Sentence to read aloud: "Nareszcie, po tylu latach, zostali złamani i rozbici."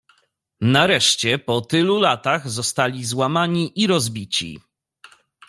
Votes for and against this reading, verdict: 2, 1, accepted